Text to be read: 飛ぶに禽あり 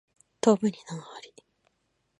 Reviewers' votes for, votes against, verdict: 2, 3, rejected